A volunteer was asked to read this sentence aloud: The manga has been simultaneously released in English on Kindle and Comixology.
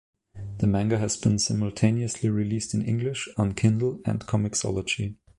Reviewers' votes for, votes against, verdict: 2, 0, accepted